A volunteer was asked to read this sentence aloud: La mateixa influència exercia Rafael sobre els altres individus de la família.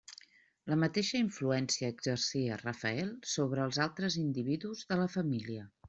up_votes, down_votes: 4, 0